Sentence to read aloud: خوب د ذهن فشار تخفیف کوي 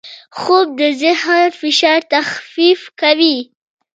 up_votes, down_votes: 1, 2